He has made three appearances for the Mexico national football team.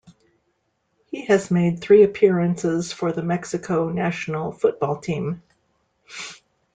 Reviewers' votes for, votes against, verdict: 2, 0, accepted